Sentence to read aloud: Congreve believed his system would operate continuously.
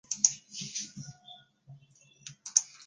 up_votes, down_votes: 0, 2